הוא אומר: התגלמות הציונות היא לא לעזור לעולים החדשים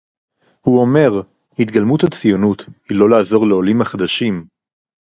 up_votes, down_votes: 4, 0